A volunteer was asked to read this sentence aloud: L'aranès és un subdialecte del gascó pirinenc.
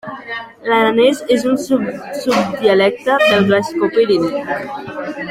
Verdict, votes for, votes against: rejected, 1, 2